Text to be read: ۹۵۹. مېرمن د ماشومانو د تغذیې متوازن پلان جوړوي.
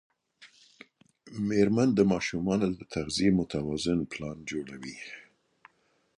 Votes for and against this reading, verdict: 0, 2, rejected